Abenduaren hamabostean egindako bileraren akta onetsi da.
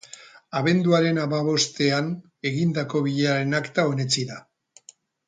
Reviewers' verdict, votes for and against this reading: rejected, 0, 2